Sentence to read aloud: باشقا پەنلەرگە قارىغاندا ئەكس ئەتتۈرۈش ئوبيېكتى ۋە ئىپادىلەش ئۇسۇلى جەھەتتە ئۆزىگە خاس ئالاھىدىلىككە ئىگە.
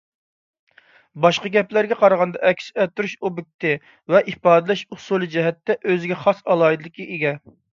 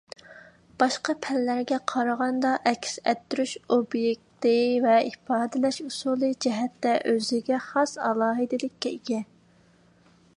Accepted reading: second